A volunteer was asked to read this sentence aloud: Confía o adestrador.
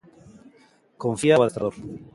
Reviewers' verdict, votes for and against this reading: rejected, 0, 2